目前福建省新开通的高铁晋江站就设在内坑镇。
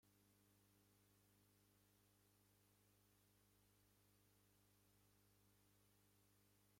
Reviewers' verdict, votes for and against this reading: rejected, 0, 2